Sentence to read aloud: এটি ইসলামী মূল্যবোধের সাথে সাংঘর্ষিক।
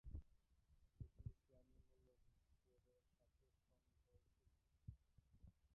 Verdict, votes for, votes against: rejected, 0, 3